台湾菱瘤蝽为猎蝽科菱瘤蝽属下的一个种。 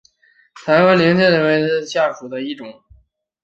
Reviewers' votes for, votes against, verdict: 0, 4, rejected